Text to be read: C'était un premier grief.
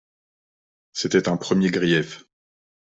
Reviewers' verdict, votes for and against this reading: accepted, 2, 0